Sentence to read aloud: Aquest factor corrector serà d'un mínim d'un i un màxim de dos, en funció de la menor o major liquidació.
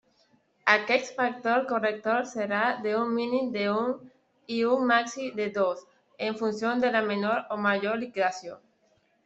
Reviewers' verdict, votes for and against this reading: accepted, 2, 1